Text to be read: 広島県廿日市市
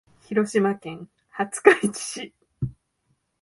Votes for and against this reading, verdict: 2, 1, accepted